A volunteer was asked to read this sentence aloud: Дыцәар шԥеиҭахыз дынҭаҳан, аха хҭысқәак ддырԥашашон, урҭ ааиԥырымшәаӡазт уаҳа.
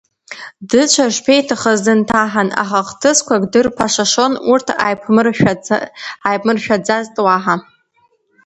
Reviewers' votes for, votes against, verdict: 1, 2, rejected